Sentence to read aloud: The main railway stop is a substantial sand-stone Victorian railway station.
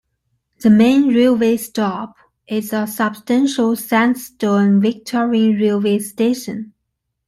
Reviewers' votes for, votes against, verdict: 2, 0, accepted